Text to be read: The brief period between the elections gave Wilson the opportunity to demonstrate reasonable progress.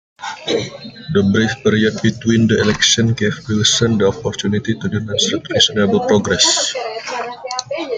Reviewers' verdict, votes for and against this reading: rejected, 0, 2